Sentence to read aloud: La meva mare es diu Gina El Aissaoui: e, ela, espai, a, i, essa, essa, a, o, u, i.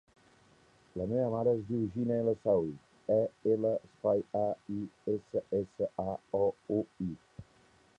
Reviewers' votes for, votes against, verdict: 0, 2, rejected